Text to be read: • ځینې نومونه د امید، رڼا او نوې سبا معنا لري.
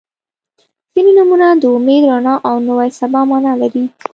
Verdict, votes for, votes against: accepted, 2, 0